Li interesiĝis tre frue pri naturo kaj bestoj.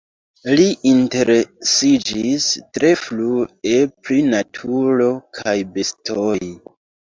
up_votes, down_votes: 0, 2